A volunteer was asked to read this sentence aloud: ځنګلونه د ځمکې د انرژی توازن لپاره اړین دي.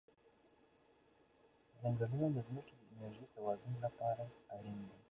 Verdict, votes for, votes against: rejected, 0, 2